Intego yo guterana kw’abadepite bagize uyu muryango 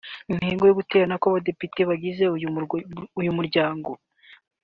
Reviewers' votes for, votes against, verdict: 1, 2, rejected